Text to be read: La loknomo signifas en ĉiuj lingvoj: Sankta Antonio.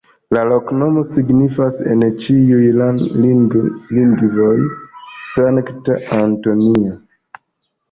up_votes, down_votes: 0, 2